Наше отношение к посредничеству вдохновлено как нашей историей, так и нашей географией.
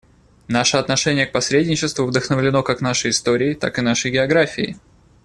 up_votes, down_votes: 2, 0